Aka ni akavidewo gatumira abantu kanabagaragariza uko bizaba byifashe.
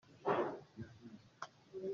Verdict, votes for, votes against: rejected, 0, 2